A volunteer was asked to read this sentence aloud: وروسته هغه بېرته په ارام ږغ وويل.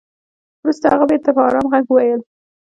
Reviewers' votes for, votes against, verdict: 2, 0, accepted